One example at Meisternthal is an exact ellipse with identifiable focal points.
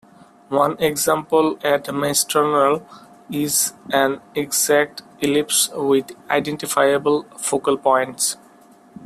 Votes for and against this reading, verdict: 1, 2, rejected